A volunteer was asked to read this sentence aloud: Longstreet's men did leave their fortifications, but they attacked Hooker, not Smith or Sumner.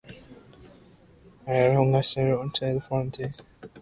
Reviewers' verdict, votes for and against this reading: rejected, 0, 2